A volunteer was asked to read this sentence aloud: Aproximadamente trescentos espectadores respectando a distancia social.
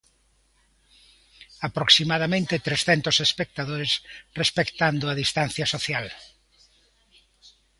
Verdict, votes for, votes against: accepted, 2, 0